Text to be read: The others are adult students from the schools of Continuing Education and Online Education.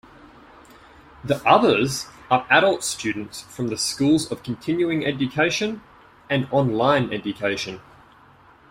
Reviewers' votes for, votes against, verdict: 2, 0, accepted